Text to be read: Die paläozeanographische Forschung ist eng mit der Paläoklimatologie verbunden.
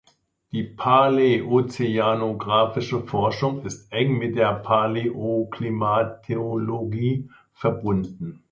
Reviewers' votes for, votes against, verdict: 2, 1, accepted